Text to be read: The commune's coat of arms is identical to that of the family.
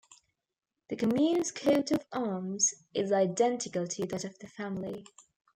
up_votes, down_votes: 1, 2